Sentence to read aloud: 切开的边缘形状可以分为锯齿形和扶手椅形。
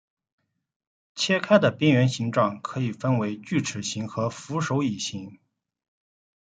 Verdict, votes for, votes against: accepted, 2, 0